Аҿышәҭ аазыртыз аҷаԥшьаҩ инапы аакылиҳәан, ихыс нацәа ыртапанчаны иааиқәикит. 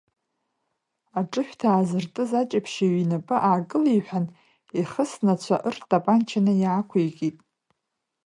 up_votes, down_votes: 1, 2